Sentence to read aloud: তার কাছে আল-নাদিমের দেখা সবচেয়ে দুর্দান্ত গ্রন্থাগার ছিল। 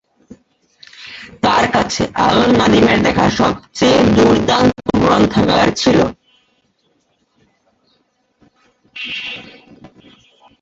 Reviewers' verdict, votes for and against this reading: rejected, 0, 4